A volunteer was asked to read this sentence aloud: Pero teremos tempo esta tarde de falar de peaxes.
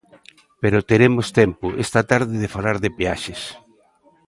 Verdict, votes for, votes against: accepted, 2, 0